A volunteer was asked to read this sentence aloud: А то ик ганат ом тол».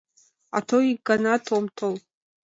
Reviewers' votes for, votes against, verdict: 2, 0, accepted